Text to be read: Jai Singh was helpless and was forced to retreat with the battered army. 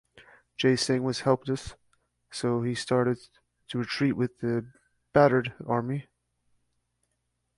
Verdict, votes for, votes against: rejected, 0, 2